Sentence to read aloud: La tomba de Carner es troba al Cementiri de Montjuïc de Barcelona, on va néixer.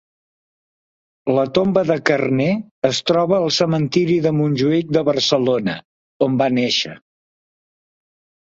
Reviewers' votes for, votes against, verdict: 2, 0, accepted